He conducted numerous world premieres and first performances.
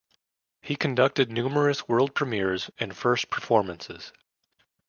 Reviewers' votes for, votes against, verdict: 2, 0, accepted